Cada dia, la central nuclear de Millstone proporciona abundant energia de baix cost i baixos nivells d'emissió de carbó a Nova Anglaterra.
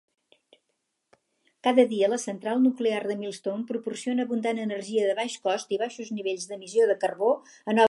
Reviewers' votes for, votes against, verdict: 0, 4, rejected